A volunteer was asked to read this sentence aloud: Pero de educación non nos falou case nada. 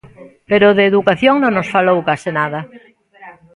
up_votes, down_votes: 1, 2